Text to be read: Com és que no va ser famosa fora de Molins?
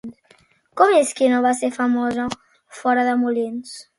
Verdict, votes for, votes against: accepted, 2, 0